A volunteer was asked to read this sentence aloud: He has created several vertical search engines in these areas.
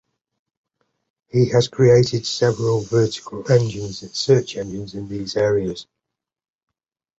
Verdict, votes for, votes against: rejected, 0, 2